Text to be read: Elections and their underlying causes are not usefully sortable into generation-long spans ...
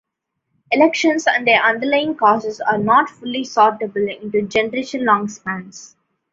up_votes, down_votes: 0, 2